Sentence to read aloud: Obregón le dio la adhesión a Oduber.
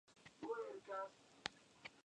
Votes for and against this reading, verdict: 0, 2, rejected